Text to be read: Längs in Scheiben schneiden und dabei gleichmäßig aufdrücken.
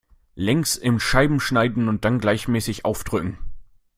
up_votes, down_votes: 0, 2